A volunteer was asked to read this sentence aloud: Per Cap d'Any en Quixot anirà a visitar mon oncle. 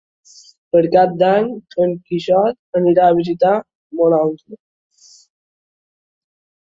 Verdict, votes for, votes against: accepted, 2, 1